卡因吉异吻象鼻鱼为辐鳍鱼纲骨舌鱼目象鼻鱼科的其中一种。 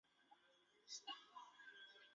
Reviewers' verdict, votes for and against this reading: rejected, 3, 5